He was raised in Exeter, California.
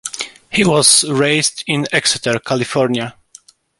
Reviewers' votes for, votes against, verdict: 2, 0, accepted